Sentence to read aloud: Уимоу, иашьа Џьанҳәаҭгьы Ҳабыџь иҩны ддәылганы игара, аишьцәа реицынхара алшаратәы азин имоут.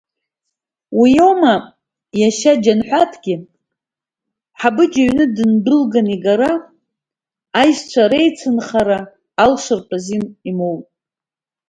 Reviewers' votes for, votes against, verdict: 2, 0, accepted